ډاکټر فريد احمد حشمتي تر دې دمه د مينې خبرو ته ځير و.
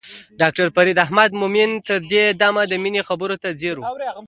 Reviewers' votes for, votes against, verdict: 2, 1, accepted